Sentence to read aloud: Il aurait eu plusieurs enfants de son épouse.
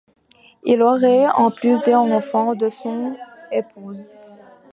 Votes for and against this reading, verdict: 0, 2, rejected